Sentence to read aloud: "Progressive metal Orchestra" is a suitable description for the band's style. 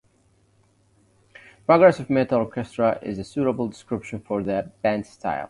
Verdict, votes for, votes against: accepted, 2, 0